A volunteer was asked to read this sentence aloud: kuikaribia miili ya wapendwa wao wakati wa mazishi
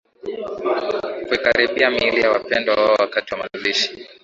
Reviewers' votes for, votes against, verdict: 2, 0, accepted